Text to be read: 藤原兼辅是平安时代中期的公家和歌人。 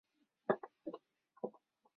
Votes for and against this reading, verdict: 0, 3, rejected